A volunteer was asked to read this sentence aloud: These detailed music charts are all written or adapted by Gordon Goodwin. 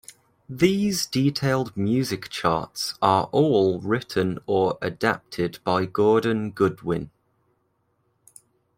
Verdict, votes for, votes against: accepted, 2, 0